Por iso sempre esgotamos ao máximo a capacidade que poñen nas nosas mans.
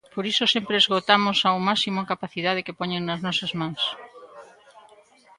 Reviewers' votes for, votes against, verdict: 1, 2, rejected